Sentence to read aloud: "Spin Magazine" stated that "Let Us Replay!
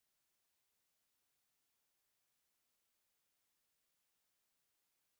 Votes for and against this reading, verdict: 1, 2, rejected